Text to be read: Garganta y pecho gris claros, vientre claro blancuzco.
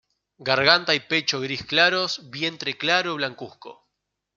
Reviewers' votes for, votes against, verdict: 0, 2, rejected